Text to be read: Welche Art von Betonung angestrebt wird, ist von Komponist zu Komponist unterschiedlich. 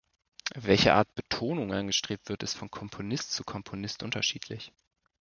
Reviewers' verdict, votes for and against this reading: rejected, 1, 2